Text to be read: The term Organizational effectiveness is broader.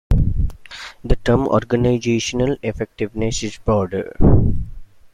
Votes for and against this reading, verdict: 2, 0, accepted